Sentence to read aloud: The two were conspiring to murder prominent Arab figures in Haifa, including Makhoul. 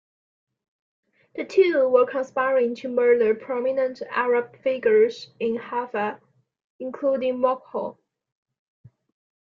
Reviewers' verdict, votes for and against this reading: accepted, 2, 0